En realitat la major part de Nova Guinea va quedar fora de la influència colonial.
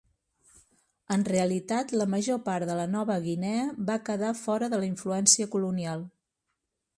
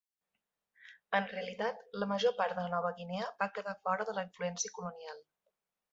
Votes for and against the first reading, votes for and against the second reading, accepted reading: 1, 2, 3, 0, second